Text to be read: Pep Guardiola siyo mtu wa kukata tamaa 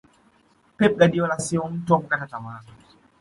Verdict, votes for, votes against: rejected, 1, 2